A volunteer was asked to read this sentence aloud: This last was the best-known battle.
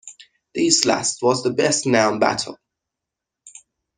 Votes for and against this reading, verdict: 0, 2, rejected